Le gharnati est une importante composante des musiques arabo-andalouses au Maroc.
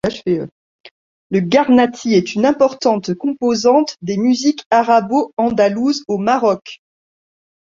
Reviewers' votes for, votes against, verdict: 1, 2, rejected